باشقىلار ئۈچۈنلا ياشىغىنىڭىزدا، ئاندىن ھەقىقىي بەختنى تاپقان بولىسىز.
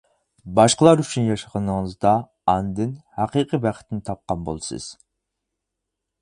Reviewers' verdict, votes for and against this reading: rejected, 0, 4